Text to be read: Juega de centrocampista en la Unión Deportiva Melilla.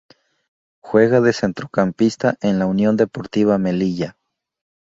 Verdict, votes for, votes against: rejected, 0, 2